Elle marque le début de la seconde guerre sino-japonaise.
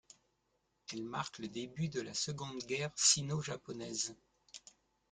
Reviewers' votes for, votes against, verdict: 2, 0, accepted